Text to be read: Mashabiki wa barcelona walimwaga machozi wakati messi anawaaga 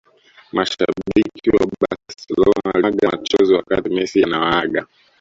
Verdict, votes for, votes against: rejected, 1, 2